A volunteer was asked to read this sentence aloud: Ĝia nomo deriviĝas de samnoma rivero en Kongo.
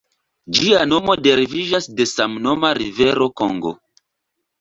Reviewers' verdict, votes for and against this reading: rejected, 1, 2